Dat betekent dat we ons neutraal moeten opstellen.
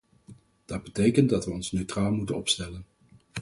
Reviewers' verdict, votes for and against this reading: accepted, 4, 0